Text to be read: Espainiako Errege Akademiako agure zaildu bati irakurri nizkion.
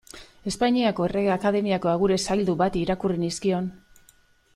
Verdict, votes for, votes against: accepted, 2, 0